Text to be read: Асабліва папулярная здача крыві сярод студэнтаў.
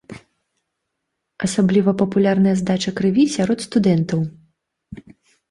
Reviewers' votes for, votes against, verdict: 2, 0, accepted